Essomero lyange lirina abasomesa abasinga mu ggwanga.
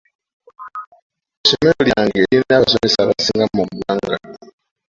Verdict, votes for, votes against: rejected, 0, 2